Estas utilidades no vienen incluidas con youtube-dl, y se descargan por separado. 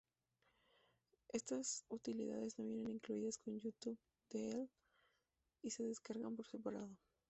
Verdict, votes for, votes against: rejected, 0, 2